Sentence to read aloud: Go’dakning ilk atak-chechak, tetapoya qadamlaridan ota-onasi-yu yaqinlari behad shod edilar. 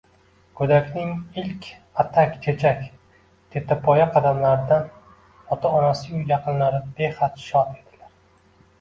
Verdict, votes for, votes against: rejected, 1, 2